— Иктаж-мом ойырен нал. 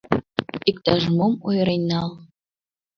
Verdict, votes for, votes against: rejected, 1, 3